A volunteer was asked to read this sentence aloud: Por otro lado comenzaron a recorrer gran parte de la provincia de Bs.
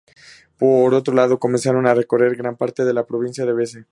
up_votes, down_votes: 2, 0